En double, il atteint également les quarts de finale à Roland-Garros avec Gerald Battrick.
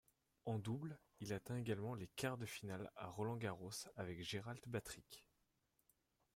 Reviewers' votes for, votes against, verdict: 1, 2, rejected